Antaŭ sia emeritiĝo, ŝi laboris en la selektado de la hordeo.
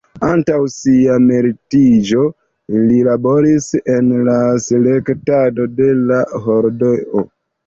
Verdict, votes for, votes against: rejected, 0, 2